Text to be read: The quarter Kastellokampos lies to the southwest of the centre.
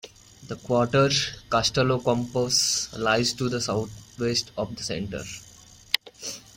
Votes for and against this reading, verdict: 2, 0, accepted